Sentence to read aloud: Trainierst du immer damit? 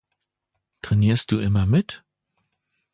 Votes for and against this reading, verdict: 0, 2, rejected